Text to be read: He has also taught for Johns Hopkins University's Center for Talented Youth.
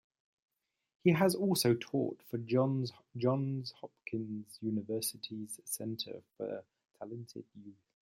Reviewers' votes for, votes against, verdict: 0, 2, rejected